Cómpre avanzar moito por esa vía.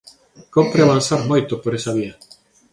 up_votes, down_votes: 0, 2